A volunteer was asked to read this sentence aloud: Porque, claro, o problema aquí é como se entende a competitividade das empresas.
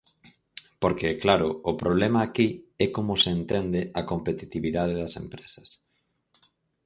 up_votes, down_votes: 4, 0